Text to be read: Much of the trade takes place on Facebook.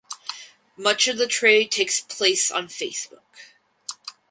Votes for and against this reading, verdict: 2, 4, rejected